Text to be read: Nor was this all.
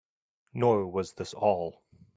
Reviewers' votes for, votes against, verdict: 2, 0, accepted